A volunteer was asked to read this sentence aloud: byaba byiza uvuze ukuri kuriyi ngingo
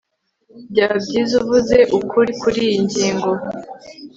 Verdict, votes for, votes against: accepted, 2, 0